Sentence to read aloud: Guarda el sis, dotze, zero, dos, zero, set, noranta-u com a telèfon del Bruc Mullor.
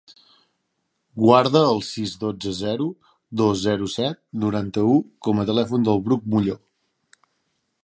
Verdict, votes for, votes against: accepted, 2, 0